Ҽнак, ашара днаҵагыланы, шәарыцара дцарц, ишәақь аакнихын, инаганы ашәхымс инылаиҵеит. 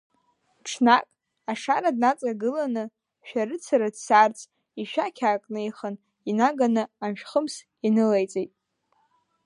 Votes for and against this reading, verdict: 0, 2, rejected